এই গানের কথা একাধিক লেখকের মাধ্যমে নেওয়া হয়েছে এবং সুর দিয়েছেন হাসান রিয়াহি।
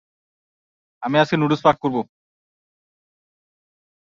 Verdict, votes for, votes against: rejected, 0, 2